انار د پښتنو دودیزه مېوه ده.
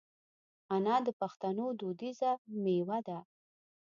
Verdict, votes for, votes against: accepted, 2, 0